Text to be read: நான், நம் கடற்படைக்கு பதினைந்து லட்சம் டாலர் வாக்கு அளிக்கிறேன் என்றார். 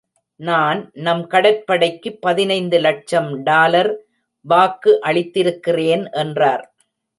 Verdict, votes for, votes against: rejected, 0, 2